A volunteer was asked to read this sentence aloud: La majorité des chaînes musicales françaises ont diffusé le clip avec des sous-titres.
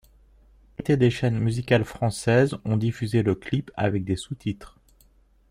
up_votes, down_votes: 1, 2